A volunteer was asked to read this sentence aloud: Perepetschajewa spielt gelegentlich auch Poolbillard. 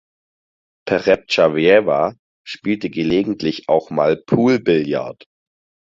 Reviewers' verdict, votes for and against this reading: rejected, 0, 4